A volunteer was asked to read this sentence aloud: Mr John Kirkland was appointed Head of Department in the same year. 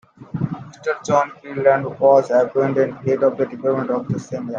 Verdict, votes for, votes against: rejected, 1, 2